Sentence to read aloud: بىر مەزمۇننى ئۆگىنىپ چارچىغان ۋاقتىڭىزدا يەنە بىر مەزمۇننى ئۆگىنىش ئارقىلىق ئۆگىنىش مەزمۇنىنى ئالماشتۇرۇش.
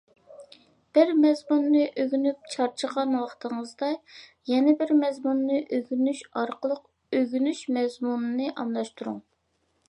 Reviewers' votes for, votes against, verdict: 0, 2, rejected